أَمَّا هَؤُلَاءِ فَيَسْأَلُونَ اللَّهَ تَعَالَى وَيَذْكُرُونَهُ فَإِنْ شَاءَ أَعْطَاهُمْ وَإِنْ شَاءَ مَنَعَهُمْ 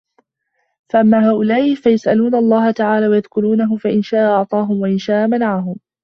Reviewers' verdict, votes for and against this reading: rejected, 1, 2